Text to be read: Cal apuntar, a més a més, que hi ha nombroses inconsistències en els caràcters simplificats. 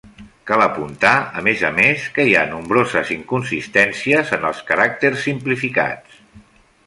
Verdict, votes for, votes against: accepted, 3, 0